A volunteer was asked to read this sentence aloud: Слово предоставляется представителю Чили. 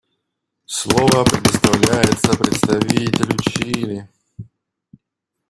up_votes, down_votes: 1, 2